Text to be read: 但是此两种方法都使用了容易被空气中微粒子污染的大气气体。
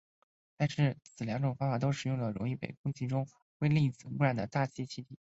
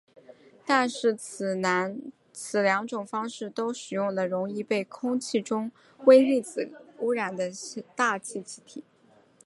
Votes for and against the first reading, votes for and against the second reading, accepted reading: 3, 5, 4, 2, second